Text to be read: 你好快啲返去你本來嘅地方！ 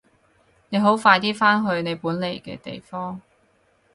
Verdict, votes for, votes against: rejected, 0, 4